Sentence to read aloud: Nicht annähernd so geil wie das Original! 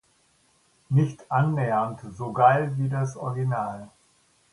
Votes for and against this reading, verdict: 2, 0, accepted